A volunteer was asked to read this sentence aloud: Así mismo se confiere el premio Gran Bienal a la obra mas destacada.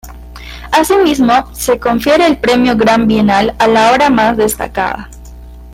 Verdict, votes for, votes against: accepted, 2, 0